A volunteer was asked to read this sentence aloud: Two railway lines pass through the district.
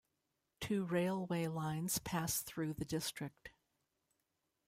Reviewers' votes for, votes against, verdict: 2, 0, accepted